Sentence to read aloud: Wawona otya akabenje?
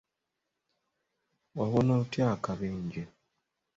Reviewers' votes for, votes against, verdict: 2, 0, accepted